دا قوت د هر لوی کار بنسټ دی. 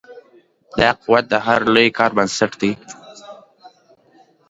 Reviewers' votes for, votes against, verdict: 2, 1, accepted